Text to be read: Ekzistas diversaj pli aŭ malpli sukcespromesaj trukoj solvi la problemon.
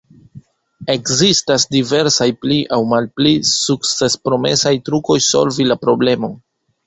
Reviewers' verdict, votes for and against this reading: rejected, 0, 2